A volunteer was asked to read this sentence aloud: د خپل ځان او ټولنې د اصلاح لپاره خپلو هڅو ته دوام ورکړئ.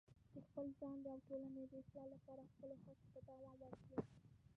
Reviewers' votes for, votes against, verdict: 0, 2, rejected